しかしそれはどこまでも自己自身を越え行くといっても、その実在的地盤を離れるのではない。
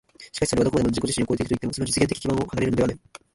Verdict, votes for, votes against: rejected, 0, 2